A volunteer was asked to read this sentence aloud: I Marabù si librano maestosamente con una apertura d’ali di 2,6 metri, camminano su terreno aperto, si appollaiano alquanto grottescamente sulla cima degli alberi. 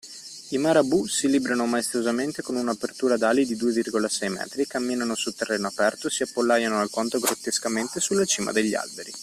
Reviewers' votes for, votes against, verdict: 0, 2, rejected